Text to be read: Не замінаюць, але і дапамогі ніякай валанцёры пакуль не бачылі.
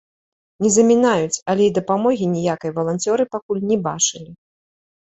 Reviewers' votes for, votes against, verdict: 1, 2, rejected